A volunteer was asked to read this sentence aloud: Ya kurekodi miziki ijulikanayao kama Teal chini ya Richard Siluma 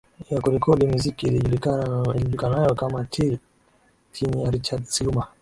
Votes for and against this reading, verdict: 2, 0, accepted